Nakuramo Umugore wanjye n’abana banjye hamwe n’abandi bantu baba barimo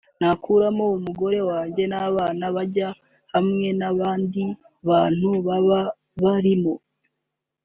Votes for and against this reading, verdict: 3, 0, accepted